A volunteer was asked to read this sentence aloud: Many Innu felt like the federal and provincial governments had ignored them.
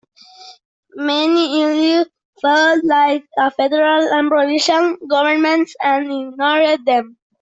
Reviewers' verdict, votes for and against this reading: accepted, 2, 1